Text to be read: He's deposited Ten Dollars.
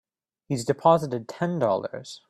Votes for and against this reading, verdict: 2, 0, accepted